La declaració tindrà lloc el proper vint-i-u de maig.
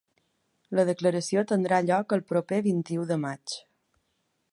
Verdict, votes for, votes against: accepted, 3, 0